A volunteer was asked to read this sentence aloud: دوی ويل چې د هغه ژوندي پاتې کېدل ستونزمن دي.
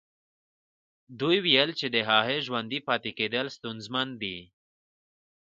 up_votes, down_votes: 2, 0